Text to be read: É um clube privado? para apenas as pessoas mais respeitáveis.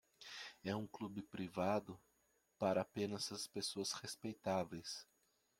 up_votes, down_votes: 1, 2